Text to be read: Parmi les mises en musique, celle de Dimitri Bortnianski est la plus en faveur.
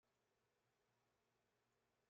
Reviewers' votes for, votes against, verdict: 0, 2, rejected